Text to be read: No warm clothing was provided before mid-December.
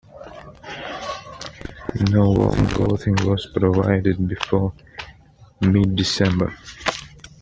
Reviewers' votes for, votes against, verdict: 2, 0, accepted